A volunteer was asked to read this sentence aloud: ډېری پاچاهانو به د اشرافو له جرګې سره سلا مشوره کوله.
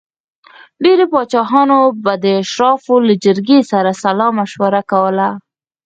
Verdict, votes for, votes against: rejected, 0, 6